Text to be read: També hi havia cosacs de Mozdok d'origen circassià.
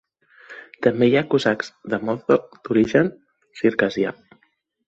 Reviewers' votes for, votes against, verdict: 0, 2, rejected